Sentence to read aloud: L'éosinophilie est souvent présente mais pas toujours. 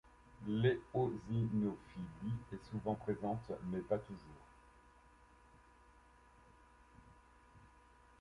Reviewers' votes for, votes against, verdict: 0, 2, rejected